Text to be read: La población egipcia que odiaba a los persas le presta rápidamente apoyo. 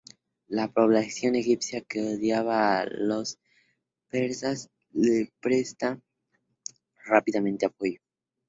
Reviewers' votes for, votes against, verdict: 0, 2, rejected